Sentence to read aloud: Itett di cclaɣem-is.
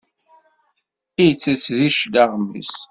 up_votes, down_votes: 2, 0